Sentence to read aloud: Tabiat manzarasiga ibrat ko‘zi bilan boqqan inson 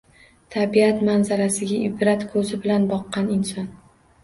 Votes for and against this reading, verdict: 2, 1, accepted